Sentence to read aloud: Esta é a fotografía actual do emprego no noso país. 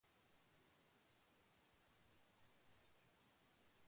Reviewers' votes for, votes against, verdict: 0, 2, rejected